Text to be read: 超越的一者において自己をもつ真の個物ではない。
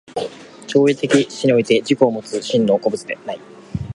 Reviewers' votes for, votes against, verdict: 0, 2, rejected